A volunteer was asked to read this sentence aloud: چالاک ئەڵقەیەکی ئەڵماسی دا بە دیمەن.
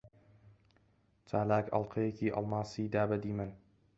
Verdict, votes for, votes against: accepted, 2, 1